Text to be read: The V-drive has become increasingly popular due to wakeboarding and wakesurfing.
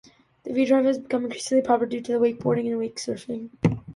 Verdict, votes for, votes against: accepted, 2, 1